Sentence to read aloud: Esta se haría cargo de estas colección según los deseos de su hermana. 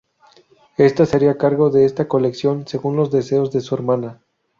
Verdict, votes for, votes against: rejected, 0, 2